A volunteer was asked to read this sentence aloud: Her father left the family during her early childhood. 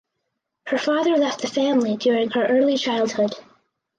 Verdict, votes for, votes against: accepted, 4, 0